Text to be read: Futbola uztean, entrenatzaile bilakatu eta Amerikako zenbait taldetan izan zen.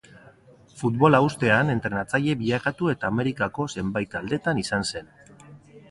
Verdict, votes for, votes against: accepted, 2, 1